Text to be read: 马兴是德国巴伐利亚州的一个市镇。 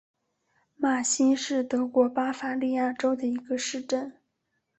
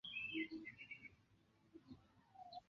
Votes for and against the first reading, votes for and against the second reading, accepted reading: 2, 0, 0, 3, first